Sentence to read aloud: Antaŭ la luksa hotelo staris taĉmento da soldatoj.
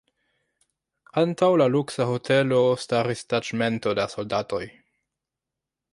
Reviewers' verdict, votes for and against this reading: rejected, 1, 2